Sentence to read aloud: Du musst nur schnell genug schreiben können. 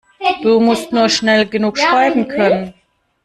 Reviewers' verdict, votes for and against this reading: rejected, 1, 2